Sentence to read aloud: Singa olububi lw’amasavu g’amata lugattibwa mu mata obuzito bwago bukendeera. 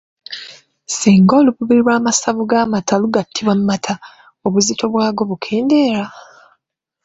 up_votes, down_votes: 1, 2